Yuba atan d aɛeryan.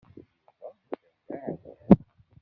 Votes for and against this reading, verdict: 0, 2, rejected